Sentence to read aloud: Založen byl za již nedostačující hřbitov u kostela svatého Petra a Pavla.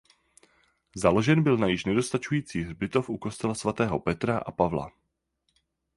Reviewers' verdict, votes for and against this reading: rejected, 0, 4